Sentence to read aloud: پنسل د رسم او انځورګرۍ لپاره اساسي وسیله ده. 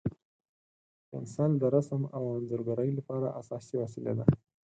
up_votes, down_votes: 4, 0